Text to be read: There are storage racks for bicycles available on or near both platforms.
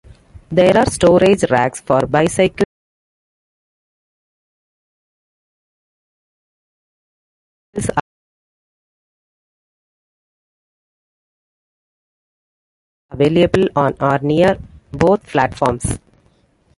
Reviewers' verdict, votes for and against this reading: rejected, 0, 2